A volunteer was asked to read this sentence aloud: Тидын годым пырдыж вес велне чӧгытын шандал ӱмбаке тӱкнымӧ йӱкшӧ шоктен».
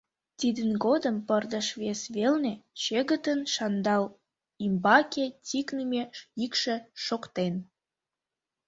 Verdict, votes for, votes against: rejected, 0, 2